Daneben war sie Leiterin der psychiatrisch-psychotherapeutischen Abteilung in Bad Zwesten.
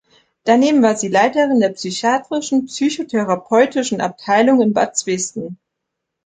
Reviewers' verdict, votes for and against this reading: rejected, 1, 2